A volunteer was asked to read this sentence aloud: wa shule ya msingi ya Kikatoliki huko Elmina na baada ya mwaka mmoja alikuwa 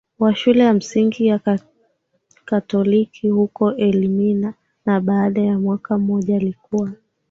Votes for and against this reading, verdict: 0, 2, rejected